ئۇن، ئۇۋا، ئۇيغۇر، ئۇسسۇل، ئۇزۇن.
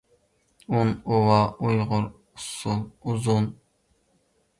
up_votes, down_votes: 0, 2